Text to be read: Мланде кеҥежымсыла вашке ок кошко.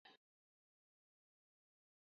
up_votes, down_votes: 0, 2